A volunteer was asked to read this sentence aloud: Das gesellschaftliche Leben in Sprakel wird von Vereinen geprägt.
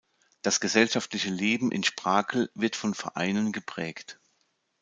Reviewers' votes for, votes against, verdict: 2, 0, accepted